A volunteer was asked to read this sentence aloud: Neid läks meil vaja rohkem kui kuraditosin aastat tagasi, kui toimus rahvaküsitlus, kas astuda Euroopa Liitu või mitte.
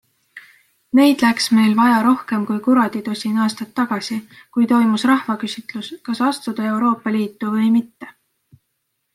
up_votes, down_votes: 2, 0